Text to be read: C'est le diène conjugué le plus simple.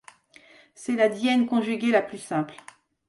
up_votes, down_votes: 0, 2